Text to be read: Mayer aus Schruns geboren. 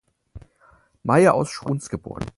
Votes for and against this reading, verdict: 4, 0, accepted